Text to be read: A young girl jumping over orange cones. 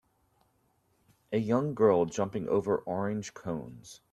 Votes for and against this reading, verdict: 3, 0, accepted